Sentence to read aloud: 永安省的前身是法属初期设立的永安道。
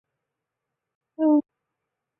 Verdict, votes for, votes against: rejected, 0, 3